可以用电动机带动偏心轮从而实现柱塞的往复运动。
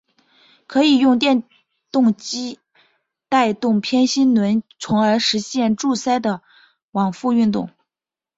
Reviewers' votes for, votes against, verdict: 2, 0, accepted